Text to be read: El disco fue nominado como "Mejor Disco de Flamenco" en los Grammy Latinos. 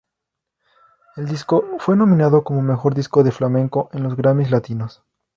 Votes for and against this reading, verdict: 2, 0, accepted